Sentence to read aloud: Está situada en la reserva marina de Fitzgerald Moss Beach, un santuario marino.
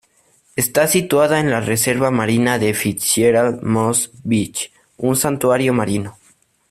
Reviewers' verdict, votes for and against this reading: accepted, 2, 0